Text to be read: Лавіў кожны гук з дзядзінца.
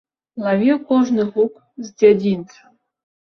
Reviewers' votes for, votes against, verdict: 2, 0, accepted